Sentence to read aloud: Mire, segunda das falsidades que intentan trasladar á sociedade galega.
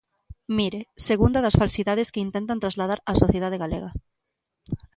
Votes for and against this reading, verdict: 2, 0, accepted